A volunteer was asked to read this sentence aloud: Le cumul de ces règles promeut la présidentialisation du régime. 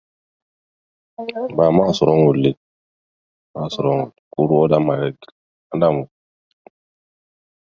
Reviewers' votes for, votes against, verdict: 0, 2, rejected